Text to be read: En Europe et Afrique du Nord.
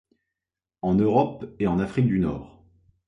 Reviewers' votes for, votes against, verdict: 2, 3, rejected